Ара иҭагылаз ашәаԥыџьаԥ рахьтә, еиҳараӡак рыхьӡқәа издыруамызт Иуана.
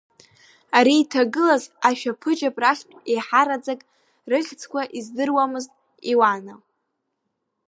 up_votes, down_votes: 1, 2